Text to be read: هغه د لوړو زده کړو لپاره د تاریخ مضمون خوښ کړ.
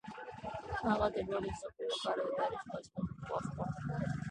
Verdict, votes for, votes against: rejected, 0, 2